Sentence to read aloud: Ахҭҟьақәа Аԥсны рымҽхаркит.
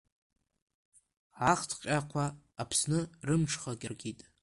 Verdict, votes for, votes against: rejected, 0, 2